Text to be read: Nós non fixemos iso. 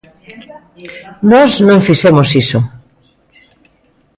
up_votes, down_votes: 2, 0